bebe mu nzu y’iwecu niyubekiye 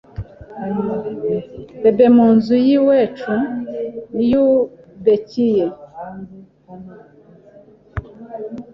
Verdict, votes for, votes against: rejected, 1, 2